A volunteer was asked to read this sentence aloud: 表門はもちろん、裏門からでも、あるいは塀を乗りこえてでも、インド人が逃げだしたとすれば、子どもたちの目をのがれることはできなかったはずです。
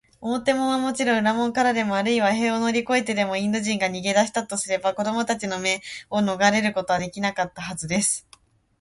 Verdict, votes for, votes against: accepted, 2, 0